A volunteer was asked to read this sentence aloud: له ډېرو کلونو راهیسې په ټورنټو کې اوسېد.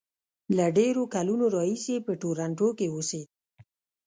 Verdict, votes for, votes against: accepted, 2, 0